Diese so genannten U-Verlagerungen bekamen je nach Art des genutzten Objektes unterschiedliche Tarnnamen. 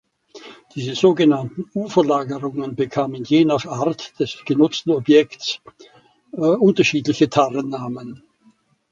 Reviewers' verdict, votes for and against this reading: rejected, 1, 2